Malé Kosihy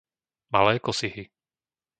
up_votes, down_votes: 2, 0